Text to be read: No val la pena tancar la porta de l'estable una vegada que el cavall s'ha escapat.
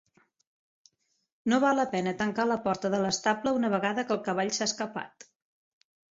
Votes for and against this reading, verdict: 4, 0, accepted